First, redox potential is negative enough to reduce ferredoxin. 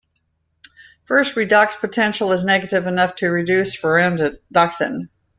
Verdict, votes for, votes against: rejected, 0, 2